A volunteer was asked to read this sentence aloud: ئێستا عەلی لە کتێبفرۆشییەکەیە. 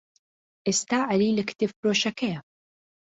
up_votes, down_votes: 0, 2